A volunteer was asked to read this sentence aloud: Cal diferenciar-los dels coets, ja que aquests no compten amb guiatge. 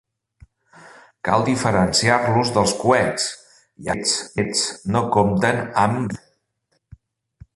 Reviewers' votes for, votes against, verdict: 0, 2, rejected